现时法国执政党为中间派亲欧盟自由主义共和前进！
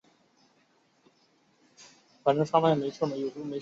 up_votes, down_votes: 1, 3